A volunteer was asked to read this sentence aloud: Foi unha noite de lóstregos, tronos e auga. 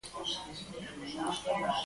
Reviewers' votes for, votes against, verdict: 0, 4, rejected